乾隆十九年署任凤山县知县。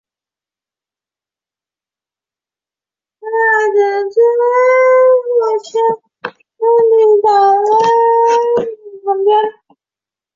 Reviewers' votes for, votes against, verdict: 0, 2, rejected